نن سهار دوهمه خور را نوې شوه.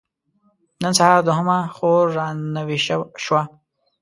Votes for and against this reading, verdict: 2, 0, accepted